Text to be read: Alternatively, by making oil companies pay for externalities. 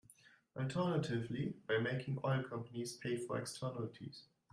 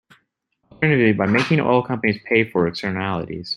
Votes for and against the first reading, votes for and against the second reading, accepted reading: 2, 0, 0, 2, first